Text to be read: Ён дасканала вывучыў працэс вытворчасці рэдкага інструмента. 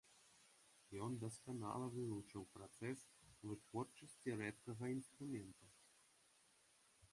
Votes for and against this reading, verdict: 2, 0, accepted